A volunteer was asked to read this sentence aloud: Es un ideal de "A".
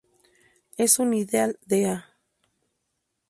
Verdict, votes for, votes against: accepted, 4, 0